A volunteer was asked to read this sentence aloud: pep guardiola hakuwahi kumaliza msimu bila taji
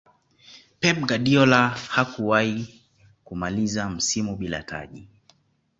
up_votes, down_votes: 2, 1